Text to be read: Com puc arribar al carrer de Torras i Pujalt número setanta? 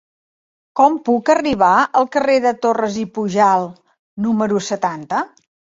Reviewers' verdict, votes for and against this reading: accepted, 2, 0